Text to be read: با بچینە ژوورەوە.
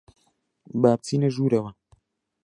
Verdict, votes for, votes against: accepted, 2, 0